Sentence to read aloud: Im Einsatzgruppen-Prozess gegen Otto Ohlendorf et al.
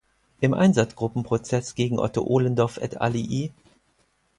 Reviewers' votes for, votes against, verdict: 2, 4, rejected